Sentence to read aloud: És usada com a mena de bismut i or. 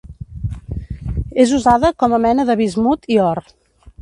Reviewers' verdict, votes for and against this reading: accepted, 2, 0